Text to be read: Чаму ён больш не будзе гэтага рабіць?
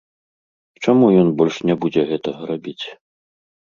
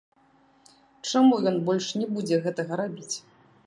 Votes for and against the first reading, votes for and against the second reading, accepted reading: 2, 0, 0, 2, first